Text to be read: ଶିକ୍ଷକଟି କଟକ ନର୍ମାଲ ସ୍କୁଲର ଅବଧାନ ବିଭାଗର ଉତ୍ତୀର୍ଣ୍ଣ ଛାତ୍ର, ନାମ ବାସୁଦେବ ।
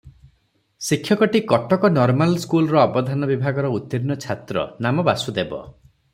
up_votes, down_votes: 3, 0